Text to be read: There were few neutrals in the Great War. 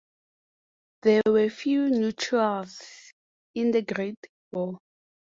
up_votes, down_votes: 2, 0